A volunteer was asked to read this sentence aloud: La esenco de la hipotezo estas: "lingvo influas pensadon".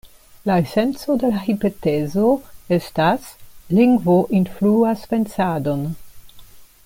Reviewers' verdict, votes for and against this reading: rejected, 0, 2